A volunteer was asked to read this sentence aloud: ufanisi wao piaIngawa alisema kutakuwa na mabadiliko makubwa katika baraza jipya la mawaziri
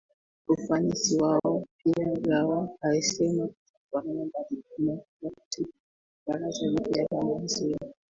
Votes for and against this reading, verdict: 1, 2, rejected